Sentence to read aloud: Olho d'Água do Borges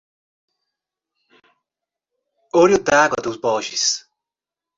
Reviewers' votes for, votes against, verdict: 1, 2, rejected